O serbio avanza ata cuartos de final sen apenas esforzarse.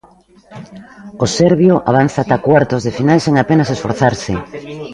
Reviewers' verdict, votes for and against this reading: rejected, 1, 2